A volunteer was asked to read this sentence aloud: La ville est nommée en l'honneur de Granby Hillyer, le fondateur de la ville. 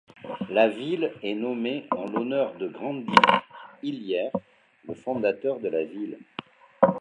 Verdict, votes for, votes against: rejected, 0, 2